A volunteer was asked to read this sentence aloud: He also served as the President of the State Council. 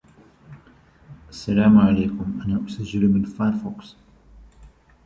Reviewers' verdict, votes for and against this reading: rejected, 1, 2